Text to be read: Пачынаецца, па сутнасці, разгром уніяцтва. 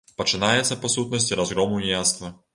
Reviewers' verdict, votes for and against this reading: accepted, 2, 0